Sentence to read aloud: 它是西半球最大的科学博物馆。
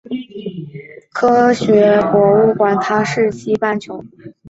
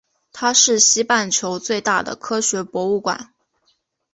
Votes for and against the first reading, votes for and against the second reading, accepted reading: 1, 2, 2, 0, second